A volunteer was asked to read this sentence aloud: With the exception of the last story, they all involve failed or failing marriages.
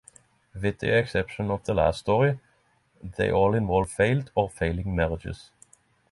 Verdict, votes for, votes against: accepted, 6, 0